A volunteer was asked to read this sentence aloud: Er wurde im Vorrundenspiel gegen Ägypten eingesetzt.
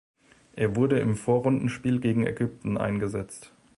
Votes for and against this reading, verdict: 2, 0, accepted